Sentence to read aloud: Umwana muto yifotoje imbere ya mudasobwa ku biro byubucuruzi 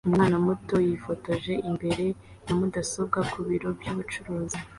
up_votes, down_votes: 2, 0